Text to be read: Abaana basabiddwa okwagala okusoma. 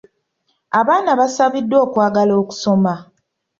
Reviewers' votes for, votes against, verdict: 2, 0, accepted